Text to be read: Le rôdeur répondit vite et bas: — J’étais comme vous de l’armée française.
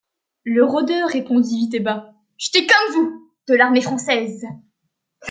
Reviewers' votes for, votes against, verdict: 2, 0, accepted